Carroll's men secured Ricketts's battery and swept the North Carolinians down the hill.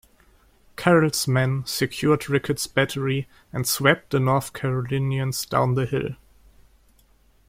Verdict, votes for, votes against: rejected, 0, 2